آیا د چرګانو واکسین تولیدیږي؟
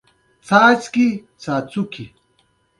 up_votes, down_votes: 2, 0